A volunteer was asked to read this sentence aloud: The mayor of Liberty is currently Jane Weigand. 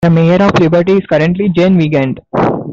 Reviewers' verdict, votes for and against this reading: accepted, 2, 1